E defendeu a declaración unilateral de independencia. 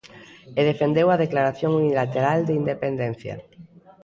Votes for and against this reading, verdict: 2, 0, accepted